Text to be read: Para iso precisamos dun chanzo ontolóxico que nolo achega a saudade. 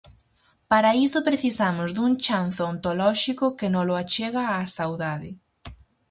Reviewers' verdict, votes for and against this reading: accepted, 4, 0